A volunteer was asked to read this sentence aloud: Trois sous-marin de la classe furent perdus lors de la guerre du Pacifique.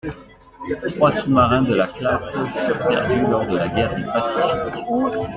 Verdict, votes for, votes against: rejected, 1, 2